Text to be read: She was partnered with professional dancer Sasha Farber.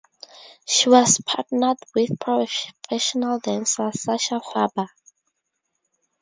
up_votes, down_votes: 2, 0